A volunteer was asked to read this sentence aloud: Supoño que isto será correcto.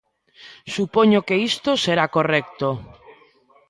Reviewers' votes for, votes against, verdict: 2, 0, accepted